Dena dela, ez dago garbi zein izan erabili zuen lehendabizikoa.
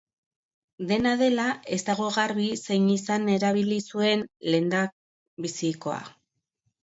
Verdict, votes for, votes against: rejected, 0, 3